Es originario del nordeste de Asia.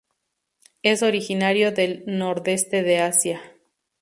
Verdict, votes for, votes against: accepted, 2, 0